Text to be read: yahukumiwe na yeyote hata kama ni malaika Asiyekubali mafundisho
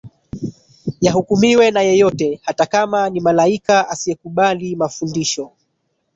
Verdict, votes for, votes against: rejected, 1, 2